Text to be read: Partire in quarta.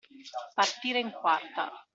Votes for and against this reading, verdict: 2, 0, accepted